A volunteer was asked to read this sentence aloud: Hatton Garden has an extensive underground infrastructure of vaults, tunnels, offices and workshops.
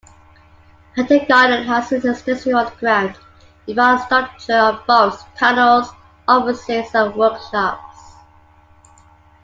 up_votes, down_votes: 2, 1